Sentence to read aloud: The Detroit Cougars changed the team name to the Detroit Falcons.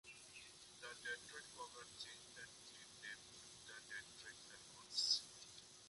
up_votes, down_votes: 0, 2